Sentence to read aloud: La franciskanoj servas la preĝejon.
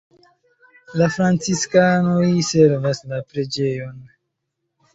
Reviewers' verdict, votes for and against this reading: accepted, 2, 0